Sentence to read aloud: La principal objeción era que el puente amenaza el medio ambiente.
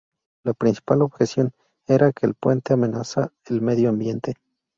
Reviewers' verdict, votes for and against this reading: rejected, 2, 2